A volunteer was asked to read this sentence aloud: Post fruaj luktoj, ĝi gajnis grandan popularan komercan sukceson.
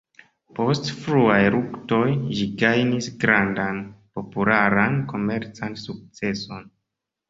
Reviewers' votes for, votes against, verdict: 1, 2, rejected